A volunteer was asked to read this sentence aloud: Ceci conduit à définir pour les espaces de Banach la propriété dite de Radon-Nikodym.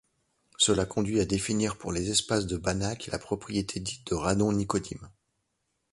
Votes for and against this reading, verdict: 1, 2, rejected